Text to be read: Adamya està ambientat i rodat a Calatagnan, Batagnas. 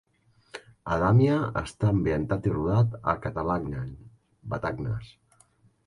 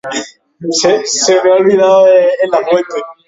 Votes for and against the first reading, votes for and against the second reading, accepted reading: 2, 0, 0, 3, first